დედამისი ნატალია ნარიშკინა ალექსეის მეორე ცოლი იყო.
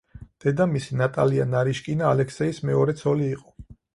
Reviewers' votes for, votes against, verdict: 4, 0, accepted